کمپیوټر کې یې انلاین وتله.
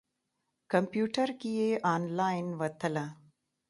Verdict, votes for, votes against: accepted, 2, 0